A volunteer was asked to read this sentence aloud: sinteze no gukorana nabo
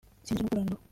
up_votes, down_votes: 0, 3